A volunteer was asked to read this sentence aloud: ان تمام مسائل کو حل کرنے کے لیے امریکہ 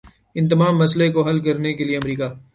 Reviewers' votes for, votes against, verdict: 0, 3, rejected